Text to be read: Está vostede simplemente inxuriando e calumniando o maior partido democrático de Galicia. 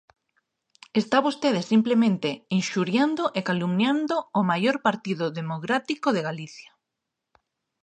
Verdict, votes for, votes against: rejected, 0, 2